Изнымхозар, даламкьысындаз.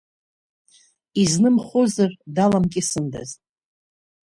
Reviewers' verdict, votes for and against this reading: accepted, 2, 0